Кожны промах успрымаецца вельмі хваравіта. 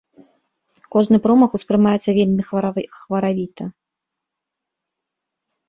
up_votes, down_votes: 0, 2